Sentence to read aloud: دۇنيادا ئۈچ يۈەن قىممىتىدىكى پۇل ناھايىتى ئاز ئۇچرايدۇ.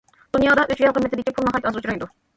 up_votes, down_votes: 0, 2